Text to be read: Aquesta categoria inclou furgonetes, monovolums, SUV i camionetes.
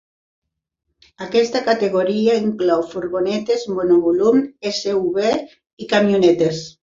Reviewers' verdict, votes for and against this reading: accepted, 2, 0